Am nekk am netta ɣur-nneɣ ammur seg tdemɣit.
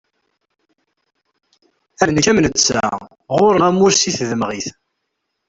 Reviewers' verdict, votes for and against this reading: rejected, 1, 2